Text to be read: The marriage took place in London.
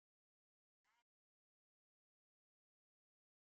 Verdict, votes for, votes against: rejected, 0, 2